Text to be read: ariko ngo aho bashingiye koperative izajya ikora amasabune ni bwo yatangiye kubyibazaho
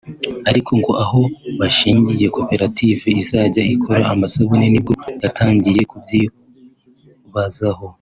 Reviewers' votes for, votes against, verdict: 0, 2, rejected